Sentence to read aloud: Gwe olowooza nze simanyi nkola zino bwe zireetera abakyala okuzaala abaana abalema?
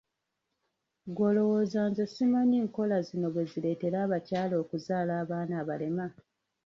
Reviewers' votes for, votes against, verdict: 1, 2, rejected